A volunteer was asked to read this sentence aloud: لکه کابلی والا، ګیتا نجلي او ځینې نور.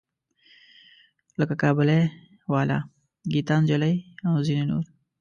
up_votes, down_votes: 2, 0